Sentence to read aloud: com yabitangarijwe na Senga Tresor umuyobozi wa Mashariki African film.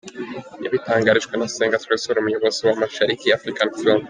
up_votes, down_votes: 0, 2